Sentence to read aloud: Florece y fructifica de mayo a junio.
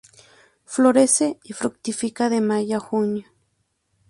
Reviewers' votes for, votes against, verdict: 2, 0, accepted